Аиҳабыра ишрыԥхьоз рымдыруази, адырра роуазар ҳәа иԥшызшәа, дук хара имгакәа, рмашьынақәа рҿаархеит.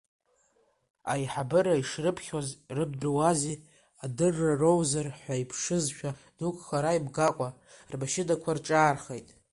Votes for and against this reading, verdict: 0, 2, rejected